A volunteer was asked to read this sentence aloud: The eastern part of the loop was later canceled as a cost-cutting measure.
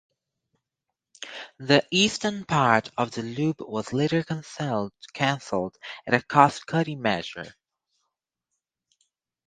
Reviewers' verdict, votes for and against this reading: rejected, 2, 4